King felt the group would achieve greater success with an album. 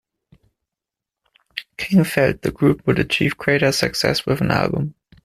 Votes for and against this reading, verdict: 2, 1, accepted